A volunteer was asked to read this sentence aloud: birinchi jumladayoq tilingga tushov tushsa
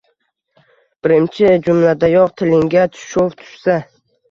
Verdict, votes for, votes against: rejected, 1, 2